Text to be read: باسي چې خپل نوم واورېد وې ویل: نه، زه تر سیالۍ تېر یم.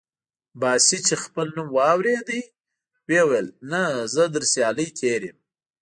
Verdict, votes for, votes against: accepted, 3, 0